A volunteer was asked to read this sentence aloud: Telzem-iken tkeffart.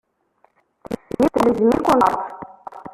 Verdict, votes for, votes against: rejected, 0, 2